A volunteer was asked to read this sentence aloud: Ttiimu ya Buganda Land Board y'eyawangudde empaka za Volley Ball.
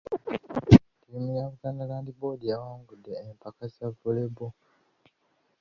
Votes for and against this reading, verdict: 1, 2, rejected